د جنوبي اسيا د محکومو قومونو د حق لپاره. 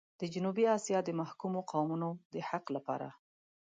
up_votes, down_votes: 2, 0